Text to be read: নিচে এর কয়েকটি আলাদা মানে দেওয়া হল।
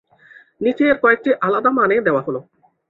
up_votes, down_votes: 2, 0